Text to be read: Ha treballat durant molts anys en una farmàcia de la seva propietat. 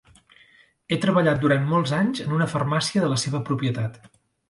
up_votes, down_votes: 0, 3